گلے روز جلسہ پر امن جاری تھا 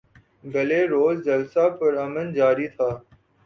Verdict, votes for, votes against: accepted, 4, 0